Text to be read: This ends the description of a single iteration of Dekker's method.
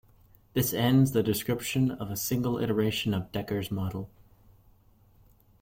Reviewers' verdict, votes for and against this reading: rejected, 1, 2